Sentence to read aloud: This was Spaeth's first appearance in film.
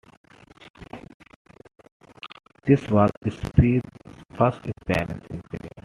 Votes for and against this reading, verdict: 2, 1, accepted